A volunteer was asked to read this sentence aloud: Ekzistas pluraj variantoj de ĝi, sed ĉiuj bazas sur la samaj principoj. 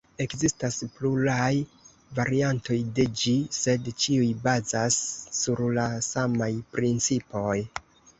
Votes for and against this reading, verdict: 2, 1, accepted